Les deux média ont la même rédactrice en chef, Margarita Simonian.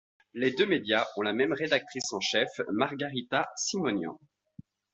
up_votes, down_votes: 2, 0